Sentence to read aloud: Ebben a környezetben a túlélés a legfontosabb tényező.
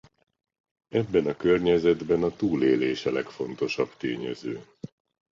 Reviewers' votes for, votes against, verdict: 2, 0, accepted